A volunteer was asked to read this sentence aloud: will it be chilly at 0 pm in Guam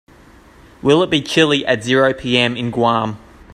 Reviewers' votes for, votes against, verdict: 0, 2, rejected